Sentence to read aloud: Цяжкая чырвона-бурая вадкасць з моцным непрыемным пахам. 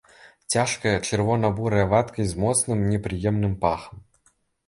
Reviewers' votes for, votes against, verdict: 2, 1, accepted